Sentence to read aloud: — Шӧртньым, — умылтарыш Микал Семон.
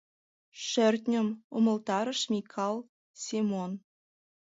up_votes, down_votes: 2, 0